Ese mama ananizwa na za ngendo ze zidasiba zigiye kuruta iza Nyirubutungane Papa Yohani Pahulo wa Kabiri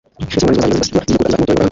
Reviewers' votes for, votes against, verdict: 1, 2, rejected